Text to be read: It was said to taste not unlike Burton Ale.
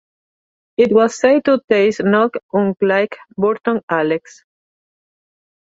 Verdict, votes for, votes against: rejected, 0, 2